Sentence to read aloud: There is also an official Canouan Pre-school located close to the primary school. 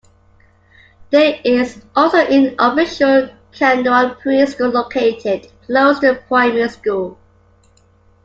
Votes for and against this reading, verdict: 2, 0, accepted